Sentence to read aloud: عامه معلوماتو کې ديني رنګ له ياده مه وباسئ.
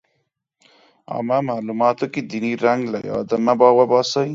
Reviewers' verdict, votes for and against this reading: rejected, 0, 2